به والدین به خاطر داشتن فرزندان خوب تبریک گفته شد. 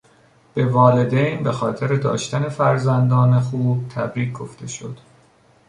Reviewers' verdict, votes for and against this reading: accepted, 2, 0